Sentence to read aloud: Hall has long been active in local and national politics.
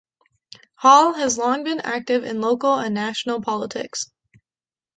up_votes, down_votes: 2, 0